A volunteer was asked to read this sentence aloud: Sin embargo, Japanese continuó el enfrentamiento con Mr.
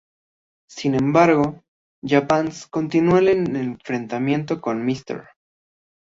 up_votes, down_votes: 2, 0